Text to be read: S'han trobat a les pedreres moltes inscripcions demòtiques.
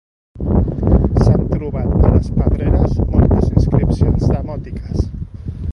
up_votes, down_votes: 0, 2